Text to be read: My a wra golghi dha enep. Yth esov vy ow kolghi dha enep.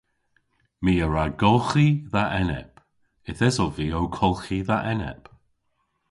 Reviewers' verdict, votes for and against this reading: accepted, 2, 0